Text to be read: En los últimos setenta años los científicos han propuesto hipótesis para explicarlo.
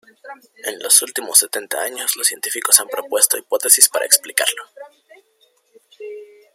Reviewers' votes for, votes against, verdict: 2, 1, accepted